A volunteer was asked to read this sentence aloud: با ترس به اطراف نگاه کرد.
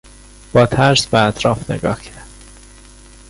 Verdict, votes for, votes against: rejected, 1, 2